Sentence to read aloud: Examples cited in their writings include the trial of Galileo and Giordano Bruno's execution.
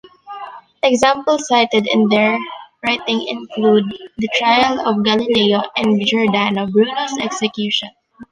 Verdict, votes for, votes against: rejected, 1, 2